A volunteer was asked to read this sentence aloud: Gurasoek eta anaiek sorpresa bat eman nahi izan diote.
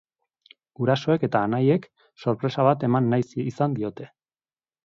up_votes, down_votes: 0, 3